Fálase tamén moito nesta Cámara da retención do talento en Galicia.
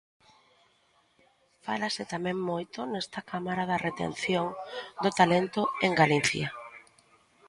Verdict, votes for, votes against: rejected, 1, 2